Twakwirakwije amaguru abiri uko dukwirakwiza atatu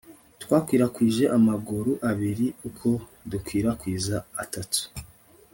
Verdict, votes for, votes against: rejected, 1, 2